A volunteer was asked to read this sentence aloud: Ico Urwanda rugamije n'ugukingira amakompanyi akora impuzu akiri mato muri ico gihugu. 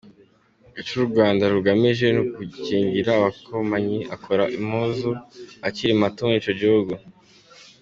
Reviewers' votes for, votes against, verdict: 3, 2, accepted